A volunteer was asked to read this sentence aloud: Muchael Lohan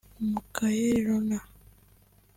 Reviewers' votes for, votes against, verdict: 0, 3, rejected